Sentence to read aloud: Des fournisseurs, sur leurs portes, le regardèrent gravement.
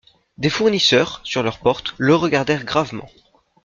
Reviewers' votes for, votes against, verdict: 2, 0, accepted